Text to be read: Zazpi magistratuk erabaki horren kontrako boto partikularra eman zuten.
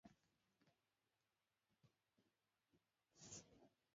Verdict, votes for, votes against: rejected, 0, 2